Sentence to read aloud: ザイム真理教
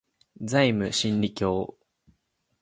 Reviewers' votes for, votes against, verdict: 2, 0, accepted